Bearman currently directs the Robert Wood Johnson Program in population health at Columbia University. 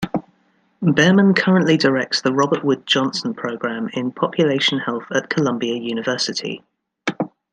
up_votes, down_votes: 2, 0